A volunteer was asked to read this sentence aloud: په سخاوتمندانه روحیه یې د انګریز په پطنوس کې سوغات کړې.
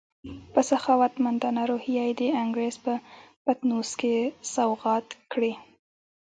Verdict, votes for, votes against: accepted, 2, 1